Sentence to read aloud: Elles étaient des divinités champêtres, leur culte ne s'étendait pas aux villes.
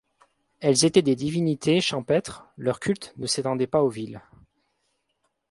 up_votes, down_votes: 2, 0